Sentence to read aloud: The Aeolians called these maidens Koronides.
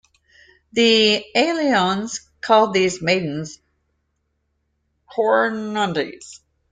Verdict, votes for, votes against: rejected, 1, 2